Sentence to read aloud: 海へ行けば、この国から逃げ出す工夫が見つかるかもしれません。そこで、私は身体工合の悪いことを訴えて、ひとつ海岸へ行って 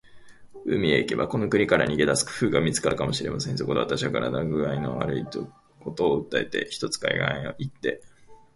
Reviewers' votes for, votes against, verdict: 3, 3, rejected